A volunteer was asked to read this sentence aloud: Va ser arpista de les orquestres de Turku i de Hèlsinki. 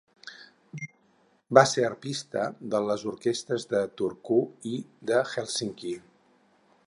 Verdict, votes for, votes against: accepted, 4, 0